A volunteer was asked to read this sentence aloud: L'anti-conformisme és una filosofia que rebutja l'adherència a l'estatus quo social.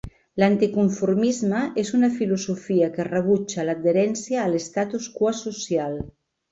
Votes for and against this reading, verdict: 2, 0, accepted